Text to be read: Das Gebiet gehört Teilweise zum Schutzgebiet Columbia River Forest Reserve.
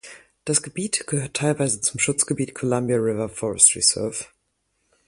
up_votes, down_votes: 4, 0